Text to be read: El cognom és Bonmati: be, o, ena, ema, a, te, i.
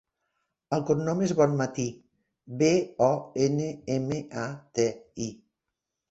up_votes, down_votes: 0, 2